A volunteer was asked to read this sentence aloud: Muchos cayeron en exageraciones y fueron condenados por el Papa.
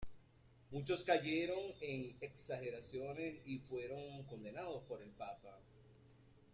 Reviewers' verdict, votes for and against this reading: accepted, 3, 1